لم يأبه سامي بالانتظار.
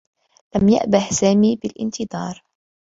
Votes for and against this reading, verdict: 2, 0, accepted